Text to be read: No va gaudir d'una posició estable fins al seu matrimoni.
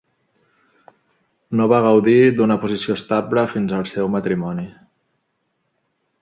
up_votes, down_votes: 2, 0